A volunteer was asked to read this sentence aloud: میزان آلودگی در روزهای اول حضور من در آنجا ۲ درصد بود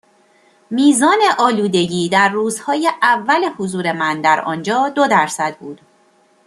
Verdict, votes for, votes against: rejected, 0, 2